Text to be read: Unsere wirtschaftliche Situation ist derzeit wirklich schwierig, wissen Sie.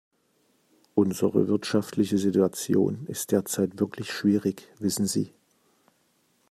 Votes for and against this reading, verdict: 2, 0, accepted